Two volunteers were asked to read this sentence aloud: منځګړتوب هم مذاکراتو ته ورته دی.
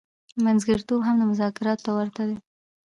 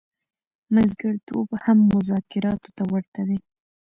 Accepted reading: first